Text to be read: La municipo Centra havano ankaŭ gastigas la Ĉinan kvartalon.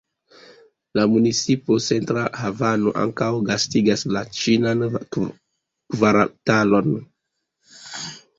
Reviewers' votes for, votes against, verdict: 1, 2, rejected